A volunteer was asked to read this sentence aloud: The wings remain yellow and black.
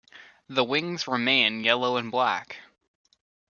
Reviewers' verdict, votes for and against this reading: accepted, 2, 0